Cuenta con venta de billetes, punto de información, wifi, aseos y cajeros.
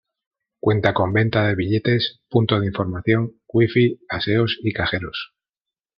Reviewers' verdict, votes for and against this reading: accepted, 3, 0